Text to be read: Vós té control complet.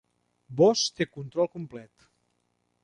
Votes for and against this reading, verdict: 2, 0, accepted